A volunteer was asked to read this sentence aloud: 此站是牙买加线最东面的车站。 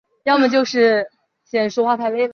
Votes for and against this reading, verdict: 0, 4, rejected